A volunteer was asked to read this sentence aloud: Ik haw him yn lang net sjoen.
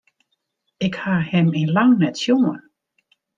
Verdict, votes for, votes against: rejected, 1, 2